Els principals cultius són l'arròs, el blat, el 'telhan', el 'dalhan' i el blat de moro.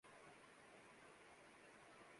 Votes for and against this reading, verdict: 0, 2, rejected